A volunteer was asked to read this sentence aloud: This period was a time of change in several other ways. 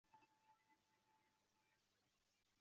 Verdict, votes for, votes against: rejected, 0, 2